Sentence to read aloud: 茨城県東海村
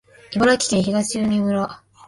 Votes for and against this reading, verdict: 1, 2, rejected